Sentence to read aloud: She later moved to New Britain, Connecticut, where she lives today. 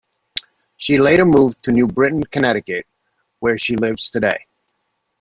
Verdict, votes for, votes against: accepted, 2, 0